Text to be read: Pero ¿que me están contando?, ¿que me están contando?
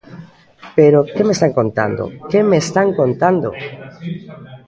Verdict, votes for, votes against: accepted, 2, 1